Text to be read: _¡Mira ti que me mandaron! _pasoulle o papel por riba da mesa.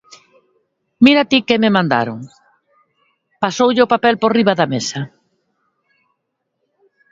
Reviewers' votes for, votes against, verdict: 2, 0, accepted